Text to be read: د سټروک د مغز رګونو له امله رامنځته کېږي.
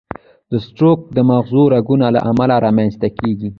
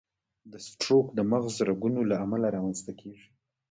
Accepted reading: second